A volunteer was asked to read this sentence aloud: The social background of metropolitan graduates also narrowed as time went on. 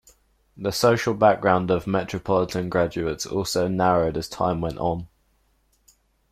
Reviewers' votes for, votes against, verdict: 2, 0, accepted